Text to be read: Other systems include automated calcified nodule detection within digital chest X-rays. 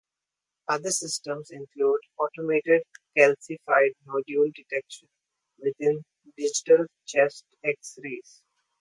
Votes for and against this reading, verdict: 0, 2, rejected